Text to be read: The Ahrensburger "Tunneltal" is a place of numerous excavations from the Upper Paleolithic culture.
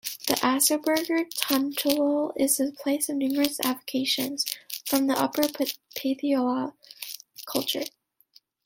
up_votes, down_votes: 0, 2